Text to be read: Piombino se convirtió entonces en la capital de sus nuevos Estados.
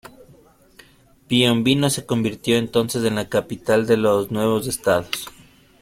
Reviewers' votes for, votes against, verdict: 0, 2, rejected